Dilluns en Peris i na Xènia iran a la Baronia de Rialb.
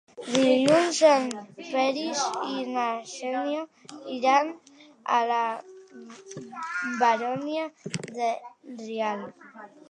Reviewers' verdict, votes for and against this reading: rejected, 0, 2